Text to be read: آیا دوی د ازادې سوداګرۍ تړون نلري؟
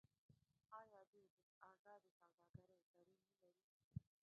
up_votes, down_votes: 0, 2